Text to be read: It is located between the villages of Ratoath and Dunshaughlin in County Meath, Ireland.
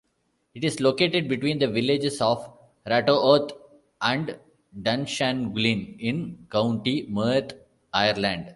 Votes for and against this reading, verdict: 0, 2, rejected